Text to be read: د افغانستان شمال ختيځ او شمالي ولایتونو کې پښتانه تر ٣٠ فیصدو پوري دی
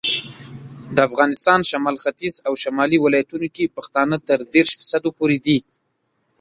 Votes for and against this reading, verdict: 0, 2, rejected